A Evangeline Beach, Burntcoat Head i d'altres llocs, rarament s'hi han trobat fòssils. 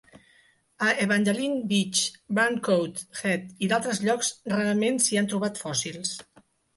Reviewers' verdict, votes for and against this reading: accepted, 2, 0